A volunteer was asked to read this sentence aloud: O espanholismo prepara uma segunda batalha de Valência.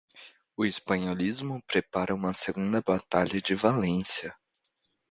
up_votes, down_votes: 2, 0